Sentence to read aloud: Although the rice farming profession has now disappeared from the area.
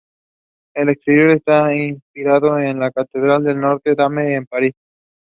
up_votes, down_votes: 0, 2